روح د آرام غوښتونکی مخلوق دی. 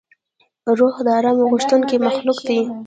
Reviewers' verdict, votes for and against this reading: accepted, 2, 0